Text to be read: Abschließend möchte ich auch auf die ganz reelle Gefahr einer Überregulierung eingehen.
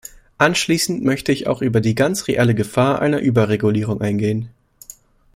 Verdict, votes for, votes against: rejected, 1, 2